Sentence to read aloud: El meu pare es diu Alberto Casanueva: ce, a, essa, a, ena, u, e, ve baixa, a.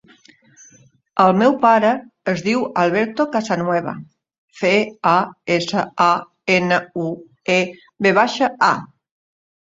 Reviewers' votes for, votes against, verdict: 0, 2, rejected